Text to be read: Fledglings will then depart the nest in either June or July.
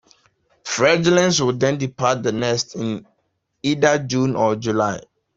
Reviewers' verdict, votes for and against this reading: accepted, 2, 0